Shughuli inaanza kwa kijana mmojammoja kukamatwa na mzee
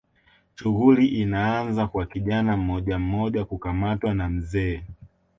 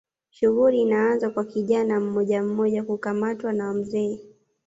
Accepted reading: first